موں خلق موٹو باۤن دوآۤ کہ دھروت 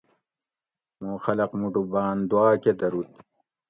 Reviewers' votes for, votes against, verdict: 2, 0, accepted